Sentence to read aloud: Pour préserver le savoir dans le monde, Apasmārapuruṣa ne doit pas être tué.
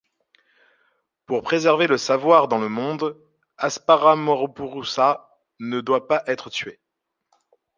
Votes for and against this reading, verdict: 1, 2, rejected